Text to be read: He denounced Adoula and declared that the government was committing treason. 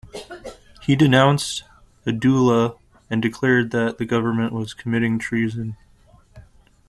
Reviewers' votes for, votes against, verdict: 2, 0, accepted